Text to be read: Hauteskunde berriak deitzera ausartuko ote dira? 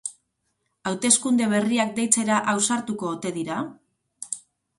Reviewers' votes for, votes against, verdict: 2, 2, rejected